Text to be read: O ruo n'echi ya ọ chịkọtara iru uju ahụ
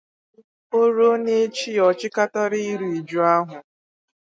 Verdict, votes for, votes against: rejected, 2, 2